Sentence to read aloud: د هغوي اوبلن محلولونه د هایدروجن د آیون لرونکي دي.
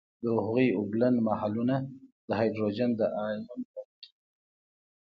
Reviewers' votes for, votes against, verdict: 2, 0, accepted